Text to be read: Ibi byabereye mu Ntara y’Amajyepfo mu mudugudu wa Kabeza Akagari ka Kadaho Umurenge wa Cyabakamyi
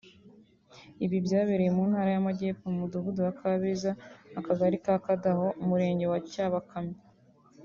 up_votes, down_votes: 2, 0